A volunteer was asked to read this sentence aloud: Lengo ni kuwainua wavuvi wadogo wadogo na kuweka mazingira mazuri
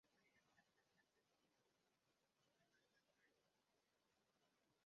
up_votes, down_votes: 0, 2